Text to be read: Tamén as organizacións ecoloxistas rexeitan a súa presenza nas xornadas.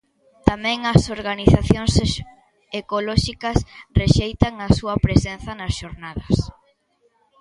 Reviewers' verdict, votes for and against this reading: rejected, 1, 2